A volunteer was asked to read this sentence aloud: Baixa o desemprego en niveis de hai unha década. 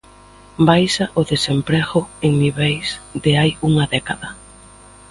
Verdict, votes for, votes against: accepted, 2, 0